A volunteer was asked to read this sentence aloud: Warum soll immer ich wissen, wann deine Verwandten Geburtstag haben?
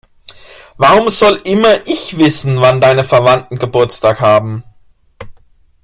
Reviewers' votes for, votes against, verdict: 2, 0, accepted